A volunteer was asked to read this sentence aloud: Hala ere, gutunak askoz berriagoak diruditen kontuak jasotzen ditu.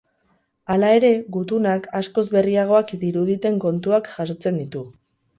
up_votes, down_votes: 4, 0